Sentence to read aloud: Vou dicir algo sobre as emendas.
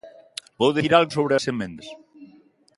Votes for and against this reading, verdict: 0, 2, rejected